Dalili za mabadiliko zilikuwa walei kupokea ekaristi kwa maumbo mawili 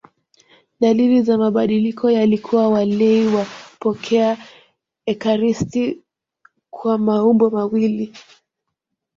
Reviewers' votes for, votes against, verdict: 1, 2, rejected